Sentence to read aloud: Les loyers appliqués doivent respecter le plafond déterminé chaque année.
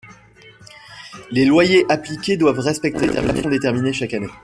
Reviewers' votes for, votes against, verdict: 0, 2, rejected